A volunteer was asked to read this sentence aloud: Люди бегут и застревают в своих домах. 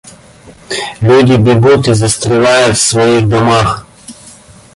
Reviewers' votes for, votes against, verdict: 1, 2, rejected